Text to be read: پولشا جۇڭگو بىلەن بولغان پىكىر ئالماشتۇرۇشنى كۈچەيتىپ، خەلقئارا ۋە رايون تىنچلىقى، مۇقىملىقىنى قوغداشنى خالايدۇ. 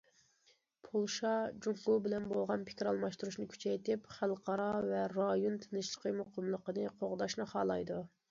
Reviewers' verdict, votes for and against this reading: accepted, 2, 0